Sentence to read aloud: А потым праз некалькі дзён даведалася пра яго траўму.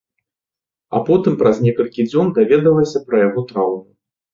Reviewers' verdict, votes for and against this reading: accepted, 2, 1